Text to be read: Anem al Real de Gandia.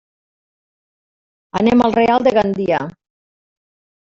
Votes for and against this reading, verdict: 3, 1, accepted